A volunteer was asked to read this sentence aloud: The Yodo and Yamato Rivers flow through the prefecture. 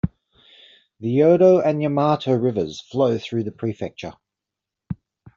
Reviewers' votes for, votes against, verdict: 2, 0, accepted